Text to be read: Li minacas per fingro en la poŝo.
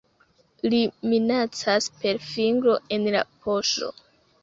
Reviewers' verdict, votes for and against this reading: accepted, 2, 0